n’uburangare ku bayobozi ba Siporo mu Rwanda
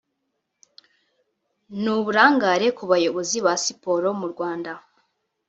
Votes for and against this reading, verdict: 0, 2, rejected